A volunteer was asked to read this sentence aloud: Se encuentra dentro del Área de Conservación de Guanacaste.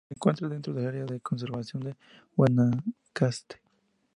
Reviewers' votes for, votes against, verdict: 2, 0, accepted